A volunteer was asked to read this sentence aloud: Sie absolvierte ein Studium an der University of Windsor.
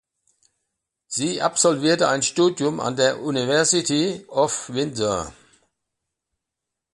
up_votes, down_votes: 0, 2